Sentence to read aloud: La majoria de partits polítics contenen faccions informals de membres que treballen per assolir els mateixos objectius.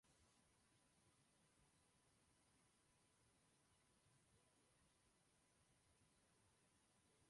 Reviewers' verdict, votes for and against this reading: rejected, 2, 3